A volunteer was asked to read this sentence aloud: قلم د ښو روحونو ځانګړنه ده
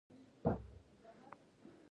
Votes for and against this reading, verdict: 1, 2, rejected